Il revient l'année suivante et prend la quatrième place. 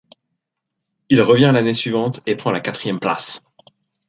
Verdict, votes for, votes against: accepted, 2, 0